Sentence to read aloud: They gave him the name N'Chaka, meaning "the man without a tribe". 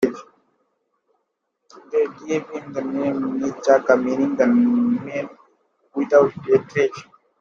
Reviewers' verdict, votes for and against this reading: accepted, 2, 1